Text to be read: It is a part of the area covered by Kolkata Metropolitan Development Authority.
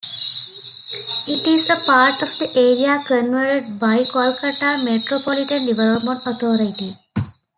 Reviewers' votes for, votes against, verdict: 1, 2, rejected